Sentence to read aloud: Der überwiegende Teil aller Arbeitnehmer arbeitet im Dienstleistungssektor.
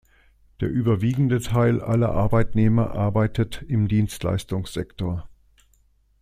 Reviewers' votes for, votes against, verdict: 2, 0, accepted